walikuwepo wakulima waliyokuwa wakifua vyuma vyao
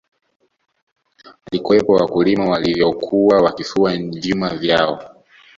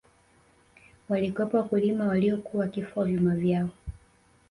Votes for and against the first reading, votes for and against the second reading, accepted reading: 1, 2, 3, 1, second